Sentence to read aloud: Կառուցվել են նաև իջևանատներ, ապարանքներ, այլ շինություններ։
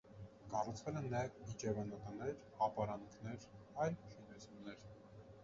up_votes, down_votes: 0, 2